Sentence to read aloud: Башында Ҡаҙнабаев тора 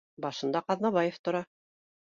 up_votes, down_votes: 2, 0